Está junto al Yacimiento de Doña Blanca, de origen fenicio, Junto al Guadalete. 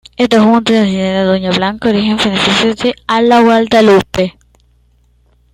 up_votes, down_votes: 0, 2